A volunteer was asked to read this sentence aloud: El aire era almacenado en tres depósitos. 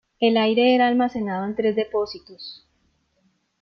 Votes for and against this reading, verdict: 2, 0, accepted